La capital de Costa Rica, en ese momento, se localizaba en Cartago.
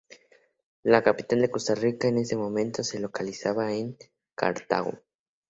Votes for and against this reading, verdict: 2, 0, accepted